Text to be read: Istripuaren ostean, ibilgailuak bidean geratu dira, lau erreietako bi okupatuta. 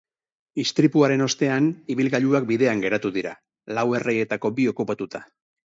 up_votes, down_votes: 4, 0